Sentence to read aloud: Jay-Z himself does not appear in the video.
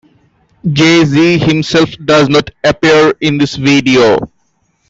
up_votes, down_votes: 0, 2